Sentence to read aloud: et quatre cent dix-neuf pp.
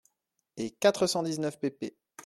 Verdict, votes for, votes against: accepted, 2, 0